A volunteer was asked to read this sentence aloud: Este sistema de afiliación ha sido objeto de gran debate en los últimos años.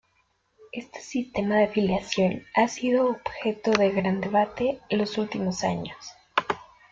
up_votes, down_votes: 2, 0